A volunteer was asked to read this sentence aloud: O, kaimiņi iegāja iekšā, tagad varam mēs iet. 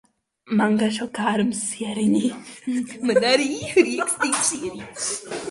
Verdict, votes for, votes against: rejected, 0, 2